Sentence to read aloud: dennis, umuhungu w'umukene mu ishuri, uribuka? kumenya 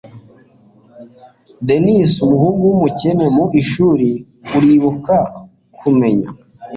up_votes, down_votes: 2, 0